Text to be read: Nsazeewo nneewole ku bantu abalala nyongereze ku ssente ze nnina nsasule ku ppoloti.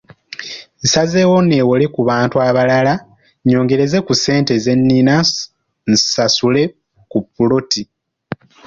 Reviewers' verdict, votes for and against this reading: accepted, 2, 0